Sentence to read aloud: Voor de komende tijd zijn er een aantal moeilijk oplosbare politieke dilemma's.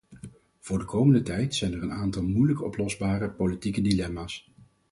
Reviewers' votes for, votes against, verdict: 4, 0, accepted